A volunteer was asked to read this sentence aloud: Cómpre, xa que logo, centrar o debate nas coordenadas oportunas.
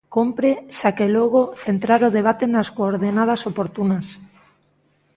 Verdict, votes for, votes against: accepted, 2, 0